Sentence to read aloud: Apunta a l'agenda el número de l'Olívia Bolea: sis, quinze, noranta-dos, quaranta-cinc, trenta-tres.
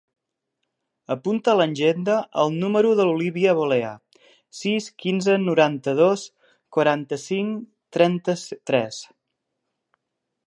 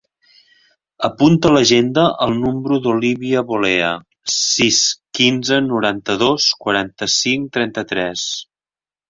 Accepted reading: first